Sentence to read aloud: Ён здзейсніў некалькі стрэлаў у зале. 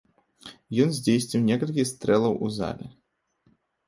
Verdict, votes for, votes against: rejected, 1, 2